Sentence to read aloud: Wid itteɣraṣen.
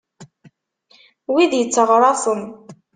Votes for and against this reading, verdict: 2, 0, accepted